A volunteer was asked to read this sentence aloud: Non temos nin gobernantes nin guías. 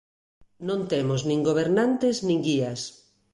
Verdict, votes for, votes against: accepted, 2, 0